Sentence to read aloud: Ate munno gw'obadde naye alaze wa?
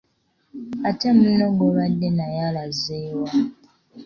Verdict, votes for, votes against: accepted, 2, 0